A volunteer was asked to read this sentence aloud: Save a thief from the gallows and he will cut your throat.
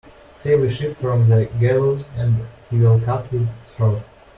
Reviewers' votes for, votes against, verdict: 1, 2, rejected